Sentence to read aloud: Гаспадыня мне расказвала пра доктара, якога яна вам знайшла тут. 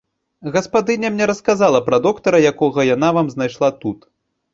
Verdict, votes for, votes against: rejected, 0, 2